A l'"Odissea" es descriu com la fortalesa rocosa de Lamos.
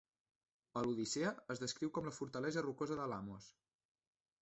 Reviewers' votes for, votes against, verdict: 0, 2, rejected